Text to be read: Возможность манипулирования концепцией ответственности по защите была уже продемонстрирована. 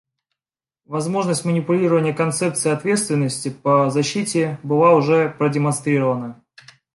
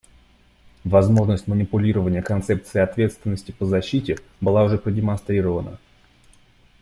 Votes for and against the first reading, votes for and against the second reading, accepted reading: 0, 2, 2, 0, second